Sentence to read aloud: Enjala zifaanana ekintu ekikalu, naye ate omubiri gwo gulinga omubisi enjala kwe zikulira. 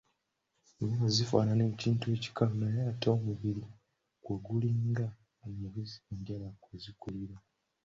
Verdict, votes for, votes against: rejected, 1, 2